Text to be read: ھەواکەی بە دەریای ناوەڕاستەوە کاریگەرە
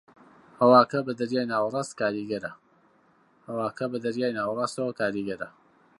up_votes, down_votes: 1, 2